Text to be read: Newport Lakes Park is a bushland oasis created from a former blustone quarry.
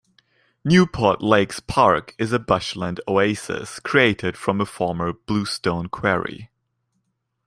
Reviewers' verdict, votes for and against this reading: rejected, 0, 2